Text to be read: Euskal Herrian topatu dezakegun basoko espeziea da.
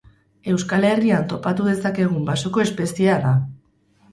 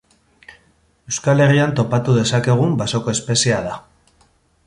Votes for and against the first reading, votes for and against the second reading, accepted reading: 2, 2, 2, 0, second